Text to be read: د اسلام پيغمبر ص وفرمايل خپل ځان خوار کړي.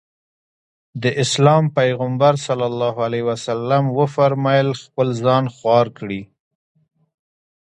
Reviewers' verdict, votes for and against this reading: rejected, 0, 2